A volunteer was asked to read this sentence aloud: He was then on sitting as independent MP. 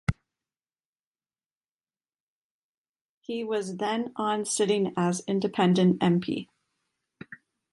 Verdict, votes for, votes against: rejected, 1, 2